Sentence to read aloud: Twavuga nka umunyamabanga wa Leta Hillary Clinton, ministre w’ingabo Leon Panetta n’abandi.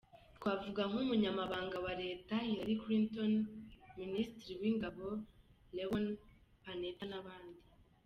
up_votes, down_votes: 1, 2